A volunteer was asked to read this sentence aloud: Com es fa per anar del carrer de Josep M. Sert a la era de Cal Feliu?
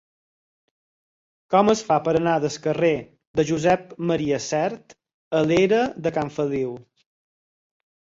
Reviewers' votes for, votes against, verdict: 4, 2, accepted